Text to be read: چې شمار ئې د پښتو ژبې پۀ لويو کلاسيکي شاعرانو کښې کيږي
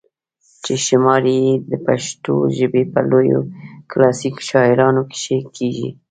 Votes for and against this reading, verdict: 2, 0, accepted